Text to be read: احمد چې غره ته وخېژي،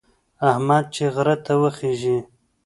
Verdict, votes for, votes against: accepted, 2, 1